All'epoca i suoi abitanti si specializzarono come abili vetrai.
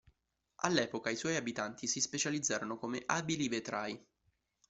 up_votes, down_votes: 2, 1